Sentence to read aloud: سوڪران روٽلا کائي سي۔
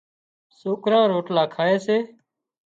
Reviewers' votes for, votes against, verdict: 2, 0, accepted